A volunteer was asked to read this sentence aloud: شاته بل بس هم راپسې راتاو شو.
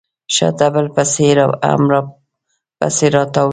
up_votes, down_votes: 0, 2